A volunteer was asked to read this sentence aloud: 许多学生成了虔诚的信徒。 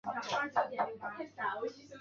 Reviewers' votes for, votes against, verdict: 1, 2, rejected